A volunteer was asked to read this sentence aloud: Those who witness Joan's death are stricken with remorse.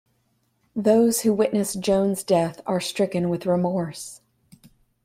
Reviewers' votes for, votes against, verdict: 2, 0, accepted